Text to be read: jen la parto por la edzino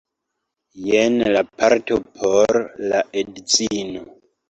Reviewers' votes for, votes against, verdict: 2, 0, accepted